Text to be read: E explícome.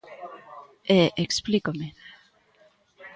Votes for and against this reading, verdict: 2, 0, accepted